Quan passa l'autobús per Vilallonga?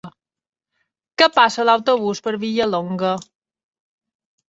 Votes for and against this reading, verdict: 1, 2, rejected